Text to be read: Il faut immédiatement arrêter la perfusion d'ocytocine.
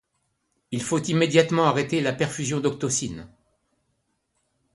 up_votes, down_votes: 1, 2